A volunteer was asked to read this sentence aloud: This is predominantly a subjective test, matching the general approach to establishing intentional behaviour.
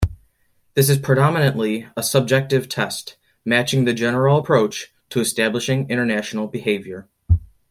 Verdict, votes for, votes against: rejected, 1, 2